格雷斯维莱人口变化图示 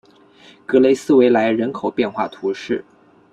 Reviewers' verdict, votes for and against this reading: accepted, 2, 0